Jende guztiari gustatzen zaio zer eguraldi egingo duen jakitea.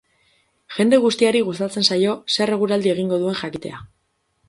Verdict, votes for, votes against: accepted, 6, 0